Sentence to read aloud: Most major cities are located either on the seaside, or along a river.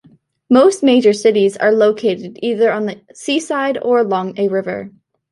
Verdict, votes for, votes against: accepted, 2, 0